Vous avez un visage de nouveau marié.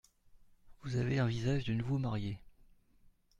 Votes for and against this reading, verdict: 2, 0, accepted